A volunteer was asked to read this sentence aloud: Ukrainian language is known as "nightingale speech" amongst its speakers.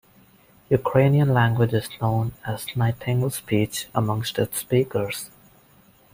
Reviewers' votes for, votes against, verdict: 1, 2, rejected